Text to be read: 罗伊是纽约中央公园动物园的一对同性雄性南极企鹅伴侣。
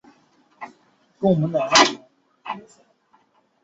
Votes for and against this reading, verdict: 0, 7, rejected